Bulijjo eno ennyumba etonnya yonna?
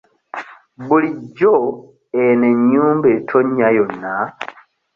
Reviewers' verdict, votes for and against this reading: accepted, 2, 0